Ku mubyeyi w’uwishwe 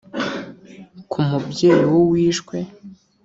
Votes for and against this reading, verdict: 3, 0, accepted